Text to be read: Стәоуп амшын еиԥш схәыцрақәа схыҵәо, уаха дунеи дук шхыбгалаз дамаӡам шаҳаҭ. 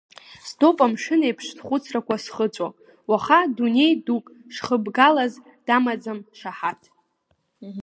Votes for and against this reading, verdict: 1, 2, rejected